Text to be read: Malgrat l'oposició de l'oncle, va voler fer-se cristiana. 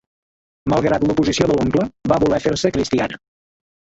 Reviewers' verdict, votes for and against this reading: accepted, 2, 0